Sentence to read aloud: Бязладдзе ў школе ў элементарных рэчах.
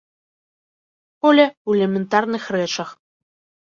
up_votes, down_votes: 0, 3